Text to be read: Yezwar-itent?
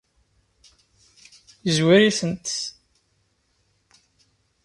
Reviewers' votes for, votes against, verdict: 2, 0, accepted